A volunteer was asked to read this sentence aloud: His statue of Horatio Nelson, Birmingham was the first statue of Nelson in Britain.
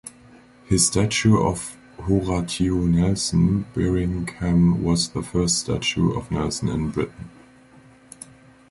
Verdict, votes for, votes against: accepted, 2, 1